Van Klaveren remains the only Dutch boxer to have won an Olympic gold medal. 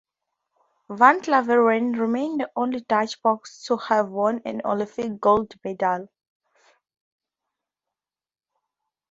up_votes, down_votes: 0, 2